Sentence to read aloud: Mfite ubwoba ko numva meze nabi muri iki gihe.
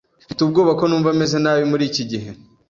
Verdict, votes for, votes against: accepted, 2, 0